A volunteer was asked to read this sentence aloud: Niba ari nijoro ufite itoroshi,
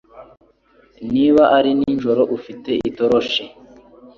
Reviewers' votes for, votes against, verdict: 4, 0, accepted